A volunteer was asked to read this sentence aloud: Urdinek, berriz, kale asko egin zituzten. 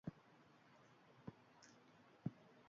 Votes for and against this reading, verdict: 0, 3, rejected